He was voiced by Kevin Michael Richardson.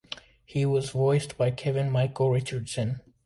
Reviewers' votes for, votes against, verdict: 2, 0, accepted